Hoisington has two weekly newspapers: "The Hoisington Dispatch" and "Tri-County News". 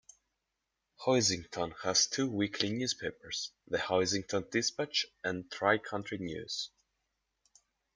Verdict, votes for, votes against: rejected, 3, 4